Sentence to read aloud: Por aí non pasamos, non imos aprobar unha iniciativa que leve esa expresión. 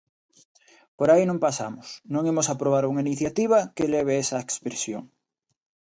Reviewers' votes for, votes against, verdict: 2, 0, accepted